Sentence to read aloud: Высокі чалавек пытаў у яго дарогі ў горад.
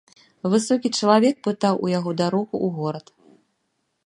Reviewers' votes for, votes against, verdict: 1, 2, rejected